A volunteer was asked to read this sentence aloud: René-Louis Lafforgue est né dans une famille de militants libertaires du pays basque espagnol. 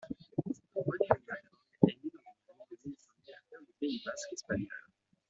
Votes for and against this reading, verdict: 0, 2, rejected